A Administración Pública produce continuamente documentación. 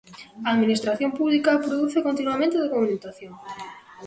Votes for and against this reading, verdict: 2, 0, accepted